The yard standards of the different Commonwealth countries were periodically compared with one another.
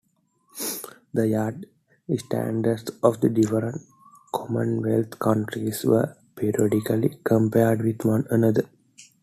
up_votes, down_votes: 2, 1